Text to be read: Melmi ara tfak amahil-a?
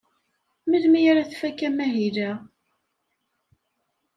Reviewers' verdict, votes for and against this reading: accepted, 2, 0